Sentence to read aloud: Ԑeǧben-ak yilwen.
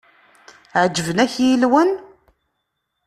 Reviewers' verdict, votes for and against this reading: rejected, 0, 2